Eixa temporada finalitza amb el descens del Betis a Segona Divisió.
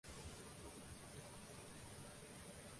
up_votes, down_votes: 0, 2